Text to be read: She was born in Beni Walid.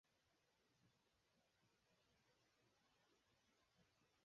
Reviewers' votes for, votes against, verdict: 0, 4, rejected